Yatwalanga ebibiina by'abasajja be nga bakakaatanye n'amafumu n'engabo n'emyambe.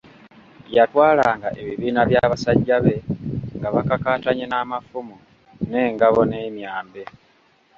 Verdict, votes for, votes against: rejected, 1, 2